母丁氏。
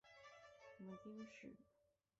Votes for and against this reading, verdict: 2, 7, rejected